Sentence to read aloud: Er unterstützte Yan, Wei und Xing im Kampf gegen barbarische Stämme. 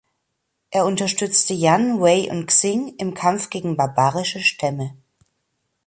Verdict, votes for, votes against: accepted, 2, 0